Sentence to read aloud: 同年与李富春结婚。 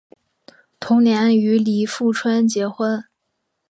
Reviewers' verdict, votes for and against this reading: accepted, 4, 0